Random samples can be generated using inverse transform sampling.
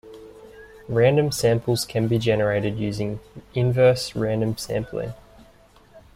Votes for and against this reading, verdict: 0, 2, rejected